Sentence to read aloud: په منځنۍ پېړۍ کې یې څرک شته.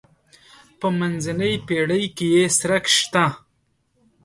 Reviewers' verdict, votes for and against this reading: accepted, 2, 0